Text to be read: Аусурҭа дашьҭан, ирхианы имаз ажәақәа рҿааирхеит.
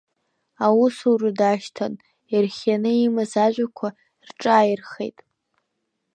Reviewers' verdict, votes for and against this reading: rejected, 0, 2